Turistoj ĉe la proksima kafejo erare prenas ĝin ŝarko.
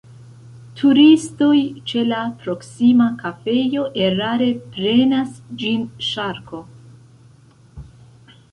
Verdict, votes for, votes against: accepted, 2, 0